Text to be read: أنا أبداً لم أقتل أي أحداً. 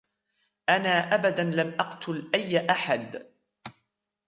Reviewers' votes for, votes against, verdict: 0, 2, rejected